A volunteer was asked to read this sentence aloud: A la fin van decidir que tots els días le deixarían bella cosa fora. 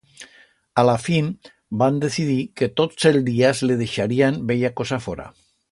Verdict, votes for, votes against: rejected, 1, 2